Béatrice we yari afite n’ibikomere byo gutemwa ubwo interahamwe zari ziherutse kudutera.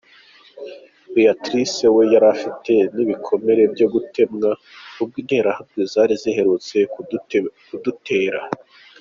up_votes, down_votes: 1, 2